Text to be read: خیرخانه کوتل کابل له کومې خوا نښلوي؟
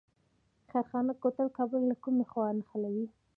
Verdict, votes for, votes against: accepted, 2, 0